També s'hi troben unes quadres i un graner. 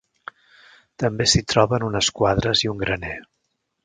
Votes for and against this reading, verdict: 3, 0, accepted